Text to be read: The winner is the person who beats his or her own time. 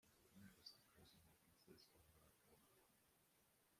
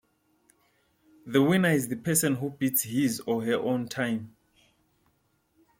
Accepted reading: second